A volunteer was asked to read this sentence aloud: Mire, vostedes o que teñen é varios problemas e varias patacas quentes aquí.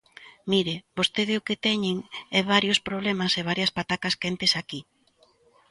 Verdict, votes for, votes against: rejected, 0, 2